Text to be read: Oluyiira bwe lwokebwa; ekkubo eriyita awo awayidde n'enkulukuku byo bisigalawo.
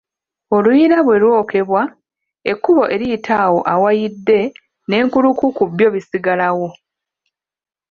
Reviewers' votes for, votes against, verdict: 0, 2, rejected